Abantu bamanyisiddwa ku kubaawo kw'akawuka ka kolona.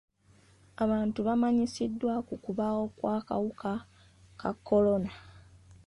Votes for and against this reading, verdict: 2, 0, accepted